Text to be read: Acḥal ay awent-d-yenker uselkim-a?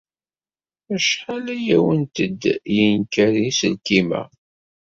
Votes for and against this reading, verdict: 1, 2, rejected